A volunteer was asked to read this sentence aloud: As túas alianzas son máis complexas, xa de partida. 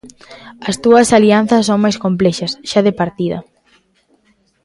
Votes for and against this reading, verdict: 1, 2, rejected